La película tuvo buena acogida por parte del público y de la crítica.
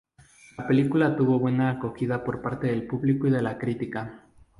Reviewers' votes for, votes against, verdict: 2, 0, accepted